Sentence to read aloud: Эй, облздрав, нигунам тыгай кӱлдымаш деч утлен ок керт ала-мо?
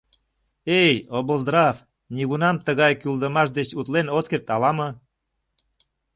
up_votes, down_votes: 1, 2